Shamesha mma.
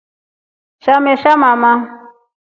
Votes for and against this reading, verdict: 1, 2, rejected